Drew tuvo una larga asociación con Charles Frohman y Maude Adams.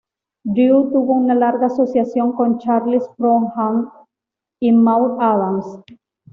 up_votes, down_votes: 1, 2